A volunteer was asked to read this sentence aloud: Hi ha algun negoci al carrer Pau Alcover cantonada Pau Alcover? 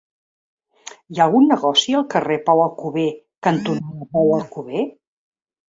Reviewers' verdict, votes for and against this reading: rejected, 0, 2